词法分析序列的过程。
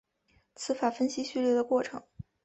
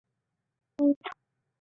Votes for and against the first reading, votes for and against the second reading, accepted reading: 2, 0, 2, 2, first